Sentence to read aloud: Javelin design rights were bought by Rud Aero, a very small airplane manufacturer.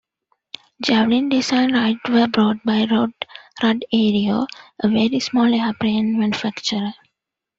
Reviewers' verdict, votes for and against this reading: rejected, 0, 2